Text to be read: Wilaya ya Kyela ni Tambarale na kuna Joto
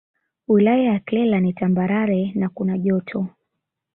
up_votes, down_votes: 6, 0